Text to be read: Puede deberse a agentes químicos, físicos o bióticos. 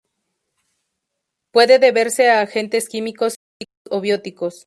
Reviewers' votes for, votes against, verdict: 0, 2, rejected